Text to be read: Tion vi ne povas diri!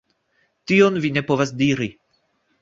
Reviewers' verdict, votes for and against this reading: accepted, 2, 0